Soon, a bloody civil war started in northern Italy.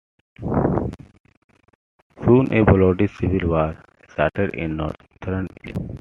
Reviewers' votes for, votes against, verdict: 0, 3, rejected